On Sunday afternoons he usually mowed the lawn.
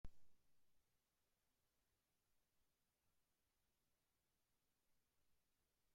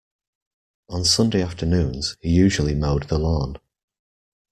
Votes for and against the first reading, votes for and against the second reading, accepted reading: 0, 2, 2, 0, second